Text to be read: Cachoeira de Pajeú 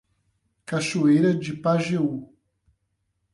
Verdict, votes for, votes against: accepted, 8, 0